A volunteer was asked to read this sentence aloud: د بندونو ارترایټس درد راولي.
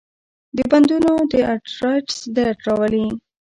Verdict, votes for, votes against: rejected, 0, 2